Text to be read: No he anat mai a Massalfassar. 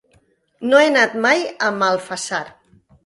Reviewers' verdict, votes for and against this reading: rejected, 0, 2